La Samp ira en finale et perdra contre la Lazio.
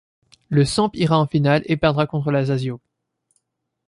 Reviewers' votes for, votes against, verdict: 1, 2, rejected